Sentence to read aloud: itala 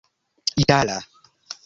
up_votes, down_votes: 2, 1